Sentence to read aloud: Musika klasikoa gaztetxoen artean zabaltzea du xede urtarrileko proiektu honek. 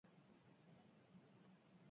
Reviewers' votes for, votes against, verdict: 0, 2, rejected